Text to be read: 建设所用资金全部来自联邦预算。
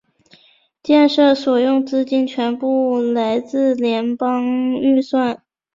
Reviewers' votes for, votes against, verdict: 2, 0, accepted